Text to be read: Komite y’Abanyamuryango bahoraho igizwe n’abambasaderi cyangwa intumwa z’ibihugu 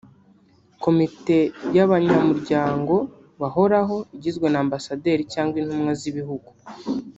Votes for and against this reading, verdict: 0, 2, rejected